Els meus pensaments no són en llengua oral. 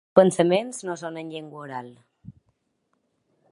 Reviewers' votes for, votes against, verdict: 0, 3, rejected